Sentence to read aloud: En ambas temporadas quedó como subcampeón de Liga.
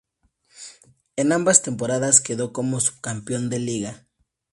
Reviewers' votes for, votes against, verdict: 0, 2, rejected